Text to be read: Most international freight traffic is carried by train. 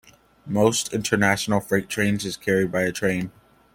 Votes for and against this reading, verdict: 1, 2, rejected